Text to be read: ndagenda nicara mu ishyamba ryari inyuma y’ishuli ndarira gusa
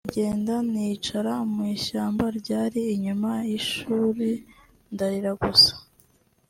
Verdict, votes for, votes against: accepted, 2, 0